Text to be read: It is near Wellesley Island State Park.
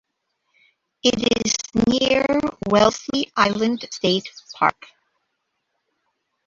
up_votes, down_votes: 0, 3